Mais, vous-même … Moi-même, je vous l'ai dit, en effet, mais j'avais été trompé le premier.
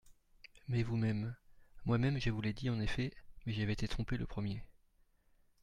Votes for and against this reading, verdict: 2, 0, accepted